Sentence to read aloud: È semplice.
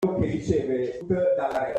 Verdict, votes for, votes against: rejected, 0, 2